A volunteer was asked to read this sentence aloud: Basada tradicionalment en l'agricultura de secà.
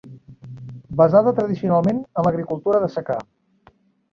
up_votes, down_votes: 3, 0